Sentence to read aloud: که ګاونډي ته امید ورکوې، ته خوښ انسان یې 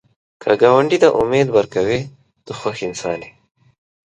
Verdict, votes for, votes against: accepted, 2, 0